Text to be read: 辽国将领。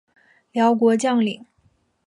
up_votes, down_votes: 2, 0